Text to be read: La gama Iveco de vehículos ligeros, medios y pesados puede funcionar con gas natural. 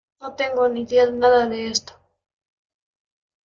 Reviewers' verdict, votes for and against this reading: rejected, 0, 2